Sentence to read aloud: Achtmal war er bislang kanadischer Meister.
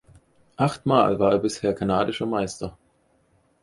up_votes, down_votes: 2, 4